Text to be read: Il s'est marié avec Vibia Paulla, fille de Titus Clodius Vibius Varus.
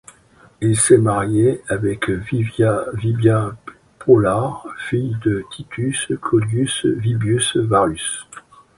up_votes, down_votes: 0, 2